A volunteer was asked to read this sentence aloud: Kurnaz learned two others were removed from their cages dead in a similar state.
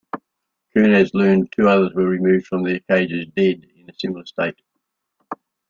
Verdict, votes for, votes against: rejected, 0, 2